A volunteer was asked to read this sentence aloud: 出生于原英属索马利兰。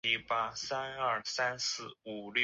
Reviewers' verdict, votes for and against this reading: rejected, 0, 3